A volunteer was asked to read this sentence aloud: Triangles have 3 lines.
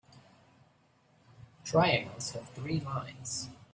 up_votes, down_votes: 0, 2